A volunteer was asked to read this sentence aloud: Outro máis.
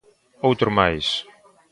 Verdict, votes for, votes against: rejected, 0, 2